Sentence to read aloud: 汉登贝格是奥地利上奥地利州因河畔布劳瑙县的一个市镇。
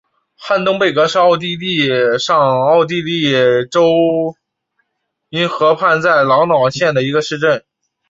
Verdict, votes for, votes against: rejected, 1, 2